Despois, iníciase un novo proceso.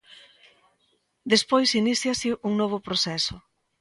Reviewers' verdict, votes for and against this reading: accepted, 2, 0